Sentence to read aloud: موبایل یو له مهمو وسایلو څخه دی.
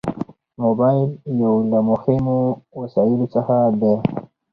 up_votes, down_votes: 2, 0